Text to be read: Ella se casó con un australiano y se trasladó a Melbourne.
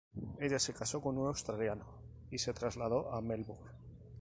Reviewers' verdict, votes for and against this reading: accepted, 4, 0